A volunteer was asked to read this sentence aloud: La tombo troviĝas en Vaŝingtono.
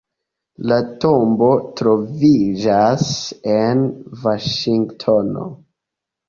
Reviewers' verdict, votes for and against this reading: accepted, 2, 1